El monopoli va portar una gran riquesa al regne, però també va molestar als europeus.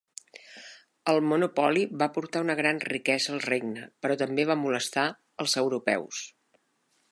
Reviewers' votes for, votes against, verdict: 2, 0, accepted